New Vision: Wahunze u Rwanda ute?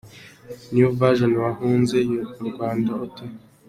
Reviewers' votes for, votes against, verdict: 2, 0, accepted